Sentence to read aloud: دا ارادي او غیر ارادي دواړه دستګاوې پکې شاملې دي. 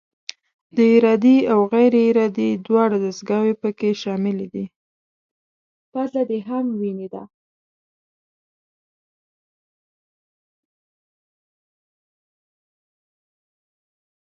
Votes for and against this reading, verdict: 1, 2, rejected